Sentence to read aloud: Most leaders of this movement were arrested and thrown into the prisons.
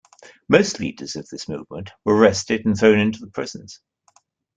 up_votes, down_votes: 0, 2